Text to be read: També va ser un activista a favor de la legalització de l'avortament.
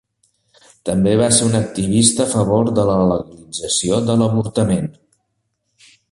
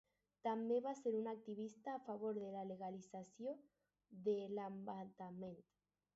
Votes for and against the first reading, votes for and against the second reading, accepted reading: 2, 0, 0, 6, first